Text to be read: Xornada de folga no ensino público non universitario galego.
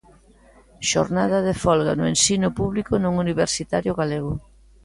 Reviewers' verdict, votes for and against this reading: accepted, 2, 0